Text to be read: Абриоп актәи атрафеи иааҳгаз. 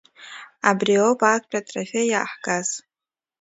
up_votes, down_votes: 2, 1